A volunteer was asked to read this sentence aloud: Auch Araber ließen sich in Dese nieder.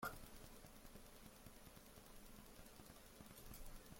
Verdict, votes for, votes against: rejected, 0, 2